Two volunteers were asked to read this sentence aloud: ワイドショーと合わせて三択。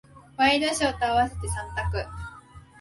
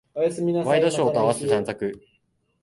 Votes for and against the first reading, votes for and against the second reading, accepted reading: 2, 0, 1, 2, first